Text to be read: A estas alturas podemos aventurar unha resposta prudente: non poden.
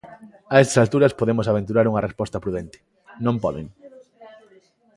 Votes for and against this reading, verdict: 2, 0, accepted